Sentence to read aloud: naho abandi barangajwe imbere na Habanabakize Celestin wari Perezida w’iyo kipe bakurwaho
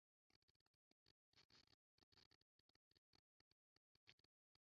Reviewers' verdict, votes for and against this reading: rejected, 0, 2